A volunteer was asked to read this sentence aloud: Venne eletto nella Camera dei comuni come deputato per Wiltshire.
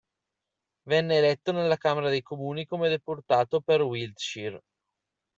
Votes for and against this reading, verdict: 0, 2, rejected